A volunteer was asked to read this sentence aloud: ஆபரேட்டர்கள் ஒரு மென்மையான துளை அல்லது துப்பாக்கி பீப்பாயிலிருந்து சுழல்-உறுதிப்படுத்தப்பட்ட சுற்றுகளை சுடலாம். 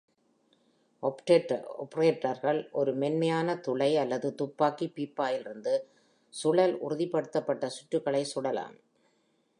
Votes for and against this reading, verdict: 0, 2, rejected